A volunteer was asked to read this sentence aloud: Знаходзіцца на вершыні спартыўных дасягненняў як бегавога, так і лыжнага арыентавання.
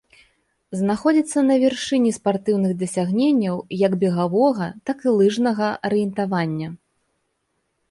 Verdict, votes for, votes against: accepted, 2, 0